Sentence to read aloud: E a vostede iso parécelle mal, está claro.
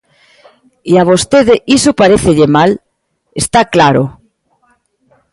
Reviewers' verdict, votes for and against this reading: accepted, 2, 1